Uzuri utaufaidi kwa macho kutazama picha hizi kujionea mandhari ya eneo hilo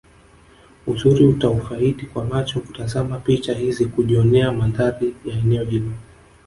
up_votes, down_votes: 0, 2